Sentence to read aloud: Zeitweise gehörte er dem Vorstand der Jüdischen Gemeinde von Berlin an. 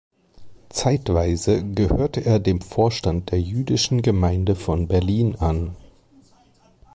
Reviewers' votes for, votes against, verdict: 3, 0, accepted